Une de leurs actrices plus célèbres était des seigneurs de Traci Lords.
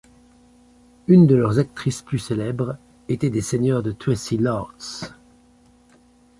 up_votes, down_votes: 2, 1